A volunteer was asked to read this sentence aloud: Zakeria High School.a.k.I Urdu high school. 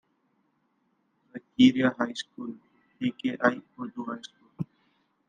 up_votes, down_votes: 0, 2